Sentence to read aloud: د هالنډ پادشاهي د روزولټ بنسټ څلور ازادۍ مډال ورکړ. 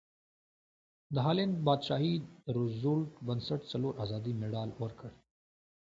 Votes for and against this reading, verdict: 2, 0, accepted